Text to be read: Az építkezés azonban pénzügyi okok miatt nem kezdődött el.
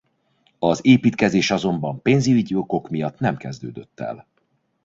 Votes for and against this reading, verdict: 0, 2, rejected